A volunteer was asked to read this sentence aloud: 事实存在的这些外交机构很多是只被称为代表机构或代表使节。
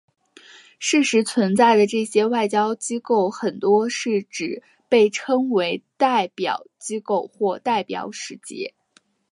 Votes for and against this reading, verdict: 3, 0, accepted